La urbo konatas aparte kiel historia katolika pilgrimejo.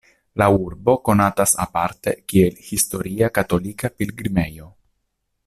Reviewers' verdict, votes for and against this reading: accepted, 2, 0